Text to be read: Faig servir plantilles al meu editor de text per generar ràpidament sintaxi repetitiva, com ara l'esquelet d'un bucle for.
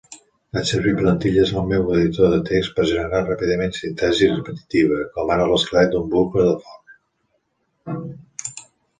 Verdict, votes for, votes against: rejected, 0, 2